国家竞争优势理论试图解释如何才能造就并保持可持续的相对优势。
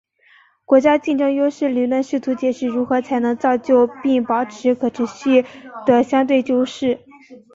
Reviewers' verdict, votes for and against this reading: accepted, 3, 0